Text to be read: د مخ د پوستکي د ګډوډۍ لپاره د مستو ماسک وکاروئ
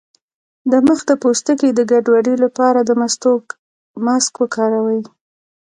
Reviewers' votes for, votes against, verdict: 0, 2, rejected